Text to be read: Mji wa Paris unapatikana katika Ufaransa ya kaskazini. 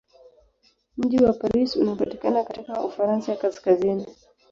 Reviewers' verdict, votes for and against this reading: rejected, 1, 2